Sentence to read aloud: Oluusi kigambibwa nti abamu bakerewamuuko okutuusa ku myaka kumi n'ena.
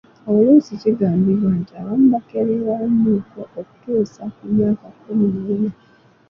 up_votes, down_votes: 2, 0